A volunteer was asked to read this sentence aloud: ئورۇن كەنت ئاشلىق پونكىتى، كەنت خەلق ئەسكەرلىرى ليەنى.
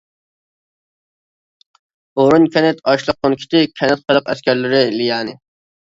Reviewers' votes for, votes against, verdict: 1, 2, rejected